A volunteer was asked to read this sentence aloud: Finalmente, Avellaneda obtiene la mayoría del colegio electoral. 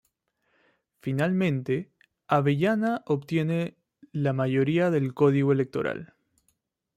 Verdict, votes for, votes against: rejected, 0, 3